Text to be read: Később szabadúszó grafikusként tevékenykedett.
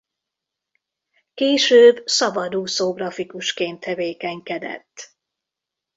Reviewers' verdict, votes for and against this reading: accepted, 2, 0